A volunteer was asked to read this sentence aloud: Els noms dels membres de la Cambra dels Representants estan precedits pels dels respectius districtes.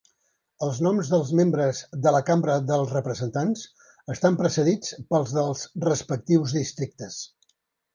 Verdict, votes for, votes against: accepted, 3, 0